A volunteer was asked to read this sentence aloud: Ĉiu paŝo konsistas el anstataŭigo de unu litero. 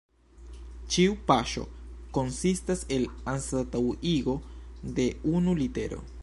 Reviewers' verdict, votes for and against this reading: accepted, 2, 0